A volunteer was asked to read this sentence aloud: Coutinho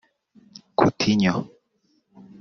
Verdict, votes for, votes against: rejected, 0, 2